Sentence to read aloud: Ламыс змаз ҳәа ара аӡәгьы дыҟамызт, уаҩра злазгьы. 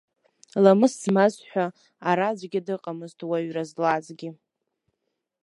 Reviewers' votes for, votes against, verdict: 0, 2, rejected